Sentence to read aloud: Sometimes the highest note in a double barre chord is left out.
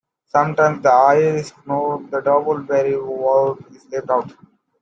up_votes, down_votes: 0, 2